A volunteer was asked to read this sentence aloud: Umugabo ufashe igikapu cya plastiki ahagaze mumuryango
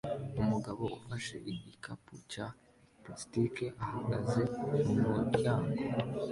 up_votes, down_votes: 2, 0